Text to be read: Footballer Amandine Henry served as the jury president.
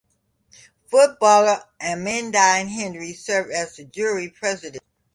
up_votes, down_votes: 2, 0